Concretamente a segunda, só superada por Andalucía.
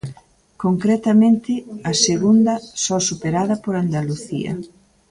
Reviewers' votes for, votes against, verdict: 1, 2, rejected